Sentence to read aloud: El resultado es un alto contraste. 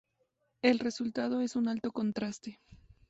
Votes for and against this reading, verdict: 2, 0, accepted